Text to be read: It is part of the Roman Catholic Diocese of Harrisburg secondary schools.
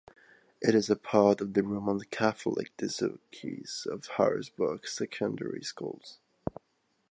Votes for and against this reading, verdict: 1, 3, rejected